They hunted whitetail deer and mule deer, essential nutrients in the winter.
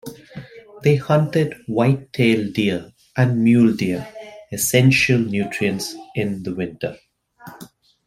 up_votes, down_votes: 2, 0